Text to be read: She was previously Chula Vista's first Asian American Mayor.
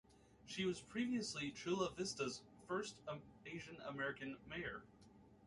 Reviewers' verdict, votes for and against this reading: rejected, 1, 2